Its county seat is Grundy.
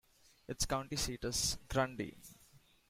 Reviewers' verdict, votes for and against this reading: accepted, 2, 0